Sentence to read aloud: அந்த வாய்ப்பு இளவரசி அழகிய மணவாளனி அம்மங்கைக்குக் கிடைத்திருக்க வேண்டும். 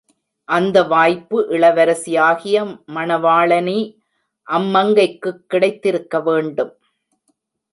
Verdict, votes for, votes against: rejected, 1, 2